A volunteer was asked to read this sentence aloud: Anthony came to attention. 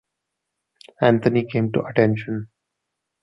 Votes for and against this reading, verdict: 2, 0, accepted